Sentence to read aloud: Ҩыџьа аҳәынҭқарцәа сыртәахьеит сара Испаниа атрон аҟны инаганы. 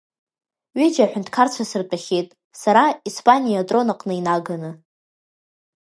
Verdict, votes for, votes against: rejected, 0, 2